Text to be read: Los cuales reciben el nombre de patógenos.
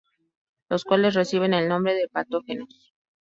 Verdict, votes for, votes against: rejected, 0, 2